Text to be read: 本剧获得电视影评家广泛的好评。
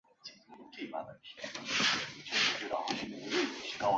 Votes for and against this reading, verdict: 1, 3, rejected